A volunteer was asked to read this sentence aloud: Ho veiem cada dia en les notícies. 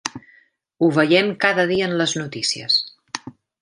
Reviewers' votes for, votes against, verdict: 3, 0, accepted